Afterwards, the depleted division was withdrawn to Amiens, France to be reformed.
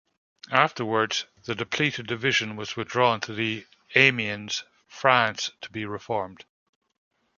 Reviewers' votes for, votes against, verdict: 2, 1, accepted